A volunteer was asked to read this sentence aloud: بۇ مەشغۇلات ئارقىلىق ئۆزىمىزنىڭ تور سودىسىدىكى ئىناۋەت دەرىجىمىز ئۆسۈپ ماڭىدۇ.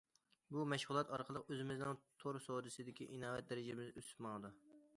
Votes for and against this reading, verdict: 2, 0, accepted